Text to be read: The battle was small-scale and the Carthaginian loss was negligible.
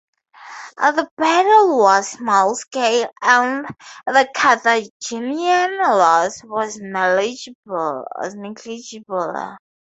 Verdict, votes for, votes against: rejected, 0, 2